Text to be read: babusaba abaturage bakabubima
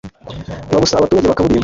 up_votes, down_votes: 0, 2